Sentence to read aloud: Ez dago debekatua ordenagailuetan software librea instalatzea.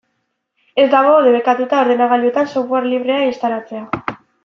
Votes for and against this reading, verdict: 1, 2, rejected